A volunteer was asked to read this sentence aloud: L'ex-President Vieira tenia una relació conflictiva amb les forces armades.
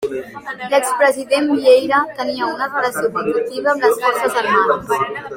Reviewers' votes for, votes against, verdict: 2, 1, accepted